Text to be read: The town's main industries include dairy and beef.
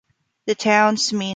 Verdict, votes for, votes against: rejected, 0, 4